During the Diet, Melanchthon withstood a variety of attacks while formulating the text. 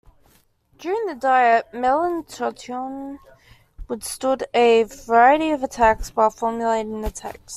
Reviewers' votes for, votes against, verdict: 1, 2, rejected